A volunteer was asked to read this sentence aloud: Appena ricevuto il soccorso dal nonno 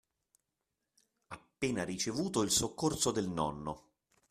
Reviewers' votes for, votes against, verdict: 0, 2, rejected